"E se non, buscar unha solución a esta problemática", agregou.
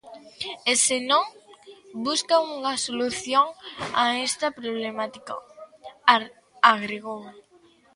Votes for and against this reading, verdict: 0, 3, rejected